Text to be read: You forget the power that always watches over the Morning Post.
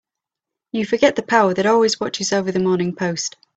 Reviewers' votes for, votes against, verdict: 2, 0, accepted